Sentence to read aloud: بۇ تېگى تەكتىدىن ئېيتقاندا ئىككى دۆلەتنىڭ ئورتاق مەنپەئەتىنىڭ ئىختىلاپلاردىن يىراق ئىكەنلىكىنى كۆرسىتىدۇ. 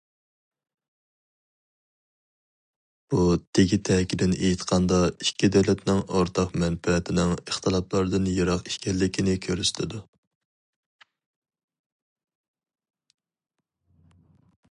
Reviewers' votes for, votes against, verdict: 2, 2, rejected